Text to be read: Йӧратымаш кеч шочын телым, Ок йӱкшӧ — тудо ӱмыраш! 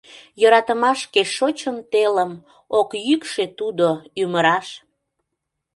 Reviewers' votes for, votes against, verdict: 2, 0, accepted